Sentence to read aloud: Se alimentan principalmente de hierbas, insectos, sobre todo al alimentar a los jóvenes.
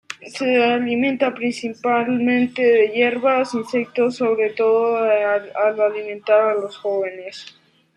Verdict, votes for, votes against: rejected, 1, 2